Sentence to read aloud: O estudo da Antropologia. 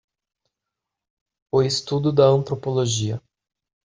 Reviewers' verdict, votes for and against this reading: accepted, 2, 0